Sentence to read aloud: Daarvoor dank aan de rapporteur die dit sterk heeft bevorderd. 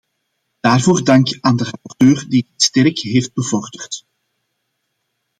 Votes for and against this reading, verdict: 2, 1, accepted